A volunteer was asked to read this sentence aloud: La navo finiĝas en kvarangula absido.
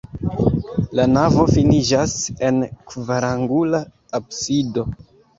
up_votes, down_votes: 2, 1